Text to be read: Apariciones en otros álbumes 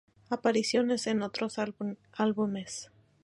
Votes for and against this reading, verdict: 2, 0, accepted